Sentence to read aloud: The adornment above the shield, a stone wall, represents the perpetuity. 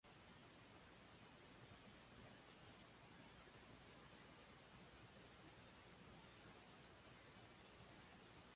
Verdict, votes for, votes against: rejected, 0, 2